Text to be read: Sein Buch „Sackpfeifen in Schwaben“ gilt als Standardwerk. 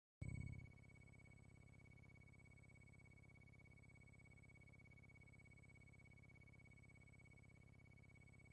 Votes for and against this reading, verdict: 0, 2, rejected